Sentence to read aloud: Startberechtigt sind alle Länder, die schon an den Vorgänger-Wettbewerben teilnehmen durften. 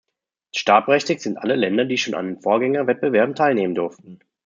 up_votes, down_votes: 2, 0